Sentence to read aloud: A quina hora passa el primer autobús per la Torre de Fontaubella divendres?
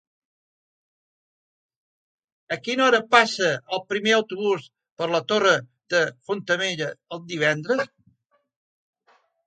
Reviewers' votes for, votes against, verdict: 1, 2, rejected